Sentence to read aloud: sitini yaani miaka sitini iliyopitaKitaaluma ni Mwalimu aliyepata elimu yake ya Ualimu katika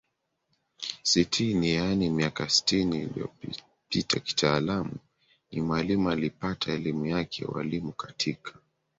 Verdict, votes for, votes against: accepted, 4, 2